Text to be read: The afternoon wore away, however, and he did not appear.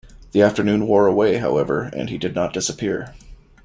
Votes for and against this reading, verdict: 1, 2, rejected